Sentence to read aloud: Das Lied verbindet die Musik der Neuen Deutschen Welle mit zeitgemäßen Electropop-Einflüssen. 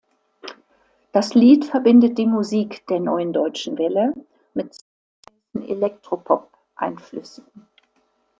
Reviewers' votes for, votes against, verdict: 0, 2, rejected